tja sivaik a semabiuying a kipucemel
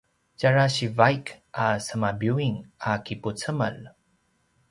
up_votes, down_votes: 1, 2